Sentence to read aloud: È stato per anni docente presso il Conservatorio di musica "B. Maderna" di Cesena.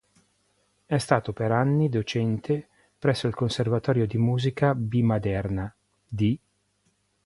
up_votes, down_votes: 1, 2